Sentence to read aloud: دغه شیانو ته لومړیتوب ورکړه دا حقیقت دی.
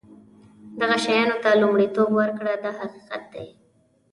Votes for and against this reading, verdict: 2, 0, accepted